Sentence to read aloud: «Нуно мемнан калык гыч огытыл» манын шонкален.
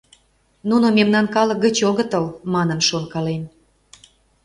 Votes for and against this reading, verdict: 2, 0, accepted